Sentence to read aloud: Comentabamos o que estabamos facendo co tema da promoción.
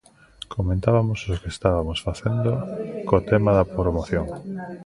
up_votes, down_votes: 0, 2